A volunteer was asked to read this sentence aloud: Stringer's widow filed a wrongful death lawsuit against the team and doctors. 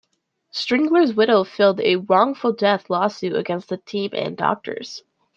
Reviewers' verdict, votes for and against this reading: rejected, 1, 2